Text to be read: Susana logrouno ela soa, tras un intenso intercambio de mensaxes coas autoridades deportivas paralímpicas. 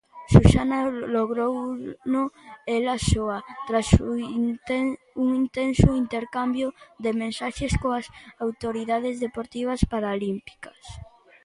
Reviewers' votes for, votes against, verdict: 0, 2, rejected